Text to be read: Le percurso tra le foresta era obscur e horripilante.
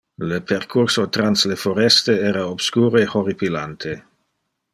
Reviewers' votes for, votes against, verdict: 1, 2, rejected